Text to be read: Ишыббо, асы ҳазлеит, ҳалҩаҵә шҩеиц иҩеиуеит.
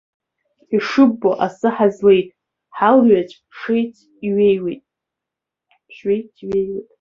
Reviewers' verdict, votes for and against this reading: rejected, 0, 2